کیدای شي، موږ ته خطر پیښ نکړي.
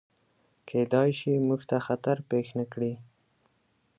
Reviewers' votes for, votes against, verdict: 2, 0, accepted